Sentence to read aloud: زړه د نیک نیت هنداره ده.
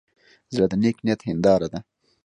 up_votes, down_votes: 2, 0